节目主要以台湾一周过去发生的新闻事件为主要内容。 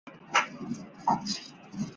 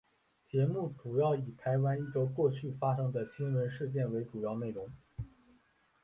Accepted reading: second